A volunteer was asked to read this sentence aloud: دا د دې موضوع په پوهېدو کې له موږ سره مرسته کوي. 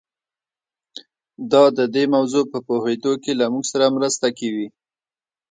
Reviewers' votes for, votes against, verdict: 2, 0, accepted